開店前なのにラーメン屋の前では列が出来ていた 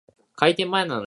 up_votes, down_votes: 0, 2